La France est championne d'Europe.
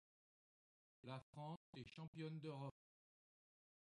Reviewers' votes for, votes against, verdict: 0, 2, rejected